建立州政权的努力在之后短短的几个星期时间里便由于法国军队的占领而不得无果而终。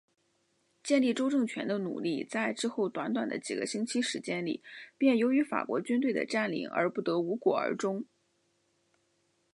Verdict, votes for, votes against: accepted, 4, 1